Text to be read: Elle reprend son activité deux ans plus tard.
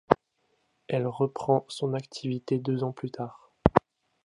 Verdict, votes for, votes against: accepted, 2, 0